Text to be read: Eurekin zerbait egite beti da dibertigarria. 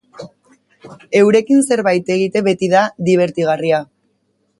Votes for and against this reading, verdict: 2, 0, accepted